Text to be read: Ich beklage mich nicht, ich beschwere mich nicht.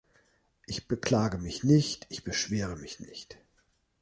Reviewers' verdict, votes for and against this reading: accepted, 2, 1